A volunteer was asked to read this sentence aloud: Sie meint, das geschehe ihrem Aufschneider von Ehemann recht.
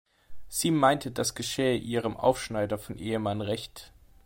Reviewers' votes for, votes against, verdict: 2, 0, accepted